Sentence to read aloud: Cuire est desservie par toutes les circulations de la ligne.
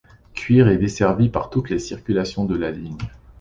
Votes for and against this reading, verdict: 2, 0, accepted